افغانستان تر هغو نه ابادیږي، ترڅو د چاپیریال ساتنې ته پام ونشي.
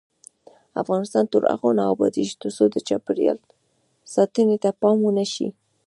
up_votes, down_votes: 1, 2